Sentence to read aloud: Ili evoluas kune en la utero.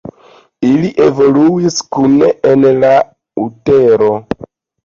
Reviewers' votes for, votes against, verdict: 0, 2, rejected